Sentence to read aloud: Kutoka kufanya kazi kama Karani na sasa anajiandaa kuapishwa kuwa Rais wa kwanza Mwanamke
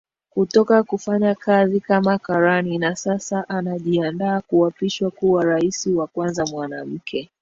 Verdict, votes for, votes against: rejected, 1, 2